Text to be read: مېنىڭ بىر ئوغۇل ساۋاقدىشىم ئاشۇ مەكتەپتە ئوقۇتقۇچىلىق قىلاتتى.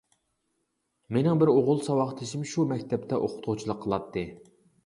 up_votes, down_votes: 0, 2